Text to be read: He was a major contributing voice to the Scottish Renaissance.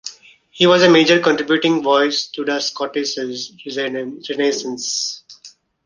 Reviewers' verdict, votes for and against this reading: rejected, 1, 2